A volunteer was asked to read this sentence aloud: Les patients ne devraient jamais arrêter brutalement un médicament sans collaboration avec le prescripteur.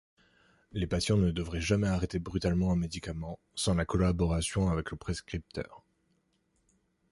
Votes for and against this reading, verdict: 1, 2, rejected